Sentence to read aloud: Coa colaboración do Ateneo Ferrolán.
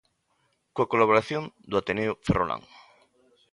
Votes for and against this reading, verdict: 2, 0, accepted